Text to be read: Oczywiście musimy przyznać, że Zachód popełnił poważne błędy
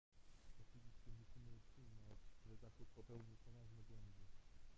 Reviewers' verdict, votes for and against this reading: rejected, 0, 2